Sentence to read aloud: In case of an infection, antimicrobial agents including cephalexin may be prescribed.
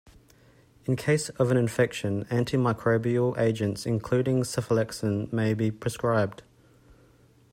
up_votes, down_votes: 2, 0